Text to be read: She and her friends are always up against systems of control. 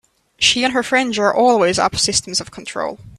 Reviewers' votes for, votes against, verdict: 0, 3, rejected